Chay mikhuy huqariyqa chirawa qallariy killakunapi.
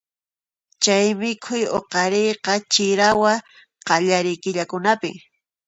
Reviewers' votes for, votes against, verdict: 2, 0, accepted